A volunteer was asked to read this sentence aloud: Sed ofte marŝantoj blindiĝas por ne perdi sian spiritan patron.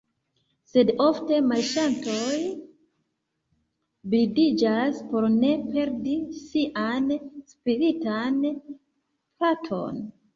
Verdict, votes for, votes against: accepted, 2, 1